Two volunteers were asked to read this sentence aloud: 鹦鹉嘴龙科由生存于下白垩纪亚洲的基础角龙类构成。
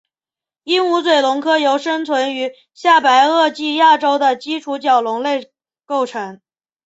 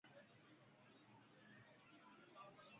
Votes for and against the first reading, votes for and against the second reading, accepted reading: 5, 1, 0, 2, first